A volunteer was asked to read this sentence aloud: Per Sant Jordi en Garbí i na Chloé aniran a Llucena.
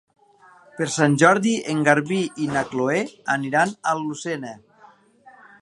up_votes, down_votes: 0, 2